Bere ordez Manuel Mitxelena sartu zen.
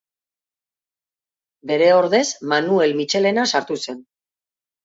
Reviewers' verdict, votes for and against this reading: accepted, 6, 0